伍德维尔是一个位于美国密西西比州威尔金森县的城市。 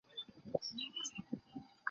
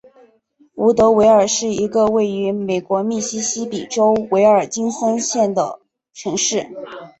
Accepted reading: second